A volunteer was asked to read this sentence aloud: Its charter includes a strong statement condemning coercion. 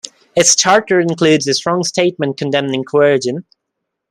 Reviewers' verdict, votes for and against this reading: rejected, 1, 2